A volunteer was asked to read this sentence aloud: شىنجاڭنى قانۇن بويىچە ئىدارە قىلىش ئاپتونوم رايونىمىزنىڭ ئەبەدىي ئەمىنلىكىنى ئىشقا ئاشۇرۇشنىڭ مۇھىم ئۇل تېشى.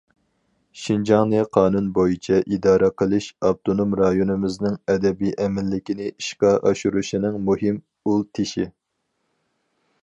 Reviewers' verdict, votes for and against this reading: rejected, 0, 2